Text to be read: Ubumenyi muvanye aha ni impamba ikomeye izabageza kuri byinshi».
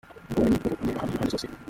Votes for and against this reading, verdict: 0, 2, rejected